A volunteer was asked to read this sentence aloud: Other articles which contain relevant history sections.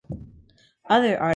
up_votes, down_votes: 1, 2